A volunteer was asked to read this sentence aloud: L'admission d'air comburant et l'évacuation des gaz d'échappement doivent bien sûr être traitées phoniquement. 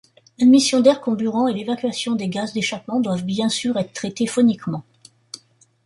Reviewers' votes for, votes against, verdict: 2, 1, accepted